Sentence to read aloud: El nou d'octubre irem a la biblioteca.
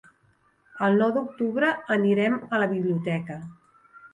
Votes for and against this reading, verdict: 0, 2, rejected